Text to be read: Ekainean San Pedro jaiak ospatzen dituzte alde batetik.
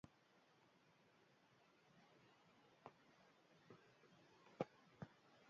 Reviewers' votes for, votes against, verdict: 0, 4, rejected